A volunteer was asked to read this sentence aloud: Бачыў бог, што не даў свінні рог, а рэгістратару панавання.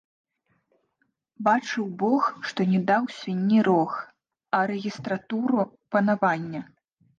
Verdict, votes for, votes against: rejected, 0, 2